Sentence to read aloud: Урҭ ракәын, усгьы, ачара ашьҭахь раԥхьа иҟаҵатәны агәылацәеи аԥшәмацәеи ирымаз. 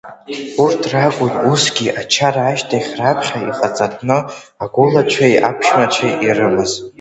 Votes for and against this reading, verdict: 2, 0, accepted